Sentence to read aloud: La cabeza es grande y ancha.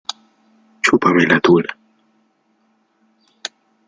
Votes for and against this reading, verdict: 0, 2, rejected